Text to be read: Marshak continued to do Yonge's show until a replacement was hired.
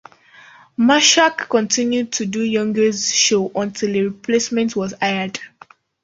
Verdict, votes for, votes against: rejected, 1, 2